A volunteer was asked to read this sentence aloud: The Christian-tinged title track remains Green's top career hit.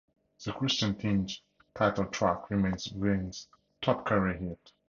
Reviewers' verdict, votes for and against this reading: rejected, 0, 2